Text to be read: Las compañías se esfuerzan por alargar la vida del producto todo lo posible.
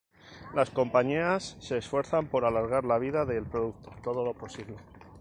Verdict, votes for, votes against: rejected, 2, 2